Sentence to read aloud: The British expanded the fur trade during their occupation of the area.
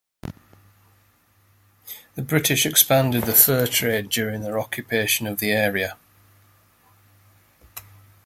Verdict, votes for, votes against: accepted, 2, 0